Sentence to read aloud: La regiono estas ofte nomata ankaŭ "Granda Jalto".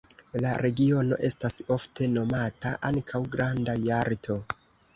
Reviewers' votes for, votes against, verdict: 1, 2, rejected